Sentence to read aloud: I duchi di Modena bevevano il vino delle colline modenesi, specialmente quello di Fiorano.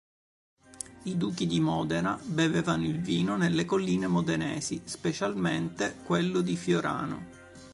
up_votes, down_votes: 0, 2